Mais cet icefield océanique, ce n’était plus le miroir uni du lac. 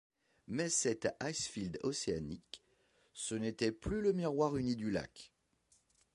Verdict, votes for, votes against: accepted, 2, 0